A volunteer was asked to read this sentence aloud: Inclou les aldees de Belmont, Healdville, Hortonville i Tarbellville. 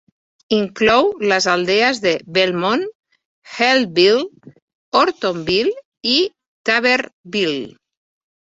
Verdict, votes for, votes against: rejected, 1, 2